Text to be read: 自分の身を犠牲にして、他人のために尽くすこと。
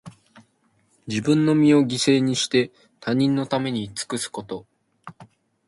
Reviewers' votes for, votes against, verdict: 2, 1, accepted